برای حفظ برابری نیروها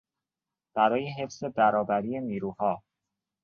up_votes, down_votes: 2, 0